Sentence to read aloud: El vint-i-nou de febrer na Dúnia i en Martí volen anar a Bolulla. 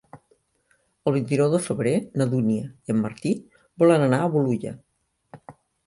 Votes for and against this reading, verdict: 2, 0, accepted